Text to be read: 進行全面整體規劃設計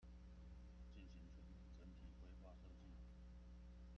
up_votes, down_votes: 0, 2